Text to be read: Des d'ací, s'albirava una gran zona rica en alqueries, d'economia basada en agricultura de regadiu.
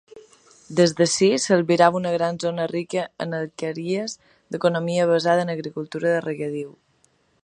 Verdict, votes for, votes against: accepted, 3, 0